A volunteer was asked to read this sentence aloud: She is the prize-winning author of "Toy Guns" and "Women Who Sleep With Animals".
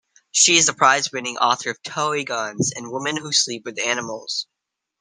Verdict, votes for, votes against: rejected, 1, 2